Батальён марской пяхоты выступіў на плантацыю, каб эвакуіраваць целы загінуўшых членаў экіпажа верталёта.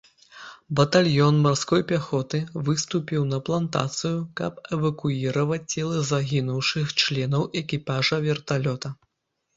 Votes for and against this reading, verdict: 2, 0, accepted